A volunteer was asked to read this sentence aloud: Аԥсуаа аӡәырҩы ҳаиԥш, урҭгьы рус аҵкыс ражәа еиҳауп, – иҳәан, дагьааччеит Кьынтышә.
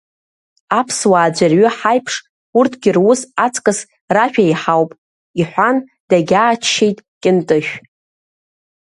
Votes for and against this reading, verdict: 2, 1, accepted